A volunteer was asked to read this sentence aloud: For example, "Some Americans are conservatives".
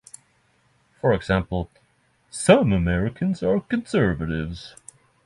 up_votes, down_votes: 6, 0